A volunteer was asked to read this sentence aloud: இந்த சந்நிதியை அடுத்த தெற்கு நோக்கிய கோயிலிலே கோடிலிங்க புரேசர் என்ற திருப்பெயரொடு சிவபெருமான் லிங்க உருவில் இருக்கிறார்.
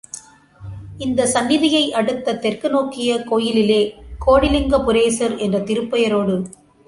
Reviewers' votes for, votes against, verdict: 0, 2, rejected